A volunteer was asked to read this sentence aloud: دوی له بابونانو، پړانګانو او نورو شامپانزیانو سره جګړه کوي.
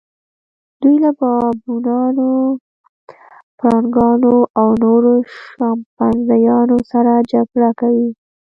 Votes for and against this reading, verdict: 1, 2, rejected